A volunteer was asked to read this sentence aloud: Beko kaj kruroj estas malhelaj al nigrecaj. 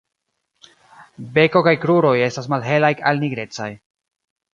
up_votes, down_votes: 2, 0